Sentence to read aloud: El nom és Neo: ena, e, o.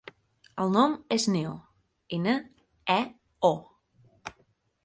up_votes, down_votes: 6, 0